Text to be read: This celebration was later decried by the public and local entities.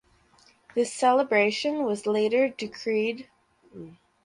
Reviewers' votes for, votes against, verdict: 0, 4, rejected